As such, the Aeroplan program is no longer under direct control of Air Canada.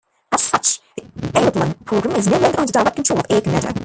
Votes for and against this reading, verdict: 2, 1, accepted